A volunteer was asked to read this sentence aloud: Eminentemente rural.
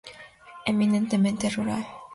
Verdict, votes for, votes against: accepted, 2, 0